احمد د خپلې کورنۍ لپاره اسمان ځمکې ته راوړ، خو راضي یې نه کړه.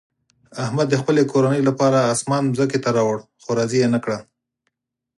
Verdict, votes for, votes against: accepted, 4, 0